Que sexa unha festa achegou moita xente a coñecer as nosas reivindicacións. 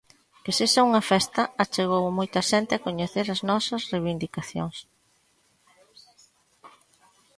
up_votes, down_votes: 2, 0